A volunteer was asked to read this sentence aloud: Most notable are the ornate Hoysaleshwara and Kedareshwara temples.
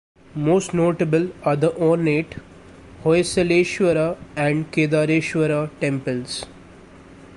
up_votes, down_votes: 2, 1